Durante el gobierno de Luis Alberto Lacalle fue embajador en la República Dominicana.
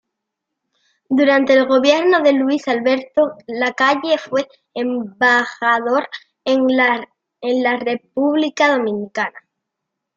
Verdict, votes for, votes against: rejected, 0, 2